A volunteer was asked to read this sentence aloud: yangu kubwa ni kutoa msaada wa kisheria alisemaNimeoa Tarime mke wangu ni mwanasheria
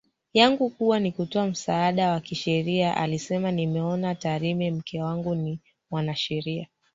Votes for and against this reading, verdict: 1, 2, rejected